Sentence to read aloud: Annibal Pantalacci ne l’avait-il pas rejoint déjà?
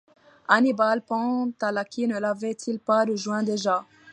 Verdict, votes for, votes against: accepted, 2, 0